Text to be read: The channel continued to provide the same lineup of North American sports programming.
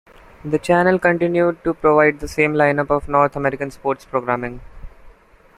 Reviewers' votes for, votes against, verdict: 2, 0, accepted